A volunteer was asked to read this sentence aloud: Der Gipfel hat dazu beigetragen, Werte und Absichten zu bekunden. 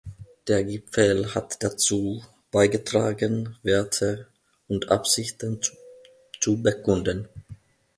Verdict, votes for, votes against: rejected, 1, 2